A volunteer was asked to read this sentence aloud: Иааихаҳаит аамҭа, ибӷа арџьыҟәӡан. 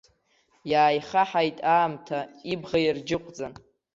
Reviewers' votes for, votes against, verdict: 0, 2, rejected